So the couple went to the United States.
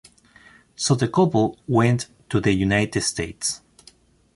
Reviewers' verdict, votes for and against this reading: accepted, 2, 1